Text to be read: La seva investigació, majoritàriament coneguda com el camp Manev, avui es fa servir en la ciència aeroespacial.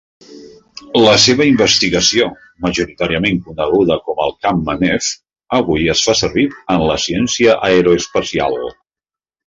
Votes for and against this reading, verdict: 2, 0, accepted